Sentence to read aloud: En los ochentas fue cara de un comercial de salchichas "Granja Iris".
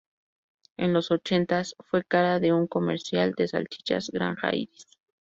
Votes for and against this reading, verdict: 0, 2, rejected